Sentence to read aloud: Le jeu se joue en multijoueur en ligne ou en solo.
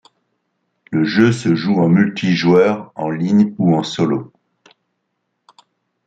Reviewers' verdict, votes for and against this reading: accepted, 2, 0